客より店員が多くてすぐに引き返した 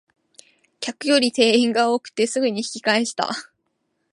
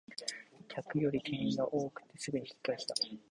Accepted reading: first